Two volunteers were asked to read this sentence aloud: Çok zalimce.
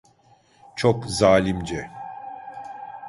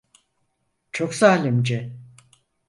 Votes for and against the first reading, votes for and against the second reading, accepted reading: 1, 2, 4, 0, second